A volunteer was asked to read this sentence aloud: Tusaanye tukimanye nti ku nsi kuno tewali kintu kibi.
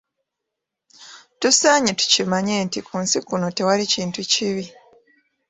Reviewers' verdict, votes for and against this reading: accepted, 2, 0